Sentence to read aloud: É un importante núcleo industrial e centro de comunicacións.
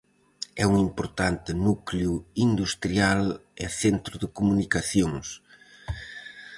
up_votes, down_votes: 4, 0